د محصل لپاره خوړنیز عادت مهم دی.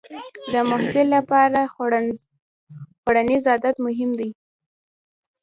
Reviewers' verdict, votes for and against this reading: rejected, 1, 2